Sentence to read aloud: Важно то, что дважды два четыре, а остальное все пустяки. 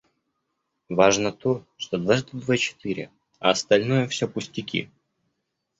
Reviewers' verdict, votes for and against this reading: accepted, 2, 1